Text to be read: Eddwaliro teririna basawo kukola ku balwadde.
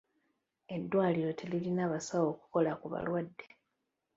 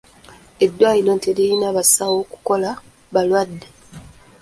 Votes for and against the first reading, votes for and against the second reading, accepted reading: 2, 0, 1, 2, first